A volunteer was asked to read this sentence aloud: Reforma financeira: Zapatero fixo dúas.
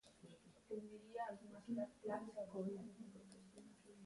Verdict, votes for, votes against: rejected, 0, 2